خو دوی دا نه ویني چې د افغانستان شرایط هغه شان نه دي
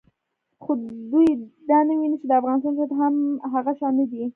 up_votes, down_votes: 2, 0